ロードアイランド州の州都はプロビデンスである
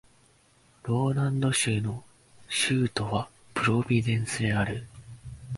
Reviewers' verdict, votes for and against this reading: rejected, 0, 2